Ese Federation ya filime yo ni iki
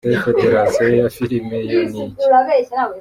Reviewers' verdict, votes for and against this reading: rejected, 1, 2